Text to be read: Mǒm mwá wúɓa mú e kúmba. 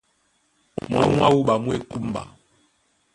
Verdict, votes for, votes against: rejected, 0, 2